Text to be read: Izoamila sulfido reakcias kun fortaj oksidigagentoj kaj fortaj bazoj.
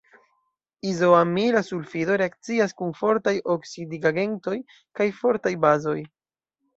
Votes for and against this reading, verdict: 2, 0, accepted